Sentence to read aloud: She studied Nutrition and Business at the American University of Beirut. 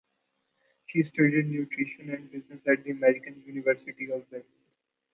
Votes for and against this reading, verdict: 1, 2, rejected